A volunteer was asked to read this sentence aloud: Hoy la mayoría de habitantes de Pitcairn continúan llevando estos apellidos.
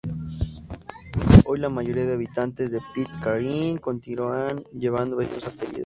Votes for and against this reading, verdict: 0, 4, rejected